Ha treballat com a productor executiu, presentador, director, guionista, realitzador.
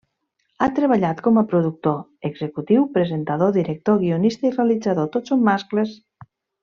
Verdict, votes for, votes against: rejected, 1, 2